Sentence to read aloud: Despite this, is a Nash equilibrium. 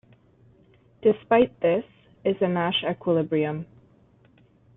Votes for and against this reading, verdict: 2, 0, accepted